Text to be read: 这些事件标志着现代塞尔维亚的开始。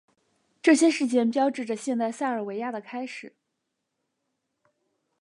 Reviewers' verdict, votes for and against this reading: accepted, 5, 0